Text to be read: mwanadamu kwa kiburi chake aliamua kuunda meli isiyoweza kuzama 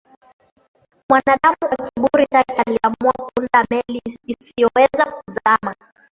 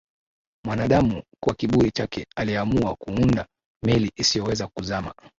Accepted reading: second